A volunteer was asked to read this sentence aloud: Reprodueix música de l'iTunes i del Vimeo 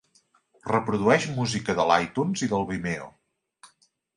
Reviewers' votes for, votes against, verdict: 2, 0, accepted